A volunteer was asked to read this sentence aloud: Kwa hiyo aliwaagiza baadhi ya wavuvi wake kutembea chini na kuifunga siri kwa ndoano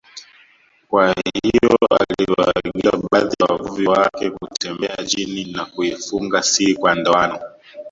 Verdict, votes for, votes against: rejected, 0, 2